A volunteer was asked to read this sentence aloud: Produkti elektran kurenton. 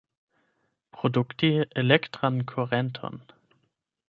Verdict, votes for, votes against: rejected, 4, 8